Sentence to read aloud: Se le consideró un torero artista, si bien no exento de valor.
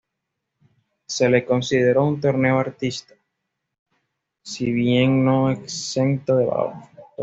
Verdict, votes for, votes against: rejected, 1, 2